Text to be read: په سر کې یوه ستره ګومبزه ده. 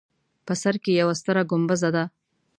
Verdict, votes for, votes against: accepted, 3, 0